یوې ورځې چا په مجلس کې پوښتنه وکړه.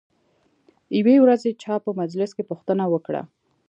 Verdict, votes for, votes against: rejected, 0, 2